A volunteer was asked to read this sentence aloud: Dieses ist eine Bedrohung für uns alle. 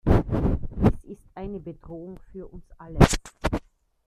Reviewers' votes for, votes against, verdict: 0, 2, rejected